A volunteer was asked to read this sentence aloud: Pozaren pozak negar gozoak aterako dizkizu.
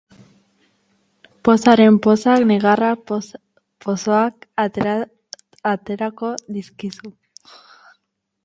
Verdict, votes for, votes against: rejected, 0, 4